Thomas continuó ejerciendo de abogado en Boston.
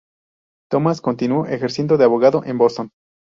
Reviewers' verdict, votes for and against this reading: rejected, 2, 2